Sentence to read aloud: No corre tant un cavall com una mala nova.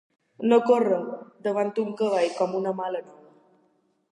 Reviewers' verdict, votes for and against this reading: rejected, 0, 2